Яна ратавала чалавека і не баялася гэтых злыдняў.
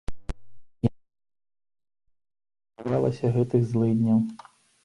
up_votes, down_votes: 0, 2